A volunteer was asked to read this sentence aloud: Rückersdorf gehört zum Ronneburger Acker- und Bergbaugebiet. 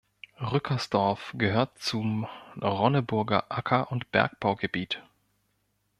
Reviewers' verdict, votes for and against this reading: accepted, 2, 0